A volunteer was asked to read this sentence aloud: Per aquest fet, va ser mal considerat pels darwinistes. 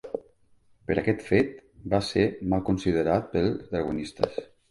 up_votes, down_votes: 0, 2